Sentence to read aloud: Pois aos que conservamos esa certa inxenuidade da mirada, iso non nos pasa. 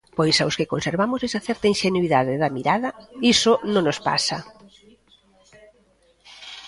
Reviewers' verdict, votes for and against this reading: accepted, 2, 0